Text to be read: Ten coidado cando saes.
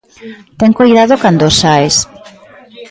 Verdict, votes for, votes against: rejected, 1, 2